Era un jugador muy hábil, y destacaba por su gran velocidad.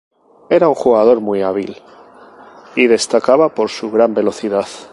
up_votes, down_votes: 0, 2